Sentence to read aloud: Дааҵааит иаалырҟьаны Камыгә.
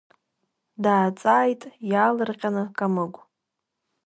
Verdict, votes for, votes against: rejected, 1, 2